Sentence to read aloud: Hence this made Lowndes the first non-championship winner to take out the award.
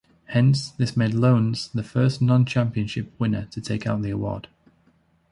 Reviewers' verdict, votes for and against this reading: rejected, 1, 2